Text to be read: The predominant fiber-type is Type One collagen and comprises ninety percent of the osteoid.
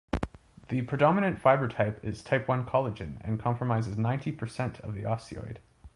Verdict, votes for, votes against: accepted, 2, 0